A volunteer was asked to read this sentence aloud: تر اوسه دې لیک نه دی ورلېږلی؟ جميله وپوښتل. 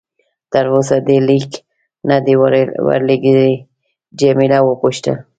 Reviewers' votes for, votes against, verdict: 1, 2, rejected